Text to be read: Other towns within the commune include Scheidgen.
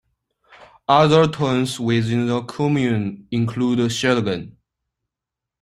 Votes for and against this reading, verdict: 1, 2, rejected